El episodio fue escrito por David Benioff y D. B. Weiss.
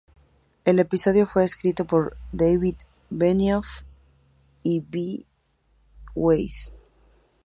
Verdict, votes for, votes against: rejected, 0, 2